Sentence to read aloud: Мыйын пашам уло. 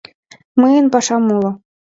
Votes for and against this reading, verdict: 2, 1, accepted